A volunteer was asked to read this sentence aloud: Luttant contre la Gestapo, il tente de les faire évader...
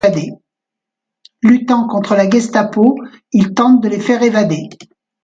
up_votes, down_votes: 2, 0